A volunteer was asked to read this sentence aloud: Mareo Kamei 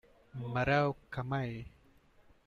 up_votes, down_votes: 2, 1